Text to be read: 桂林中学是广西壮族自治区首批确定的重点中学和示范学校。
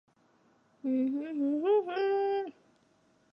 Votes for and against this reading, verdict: 0, 5, rejected